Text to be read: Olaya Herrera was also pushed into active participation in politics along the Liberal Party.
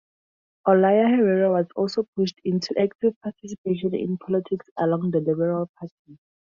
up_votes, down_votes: 2, 2